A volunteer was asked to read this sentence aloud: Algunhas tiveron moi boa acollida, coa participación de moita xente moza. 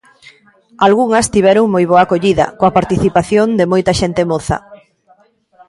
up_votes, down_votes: 2, 0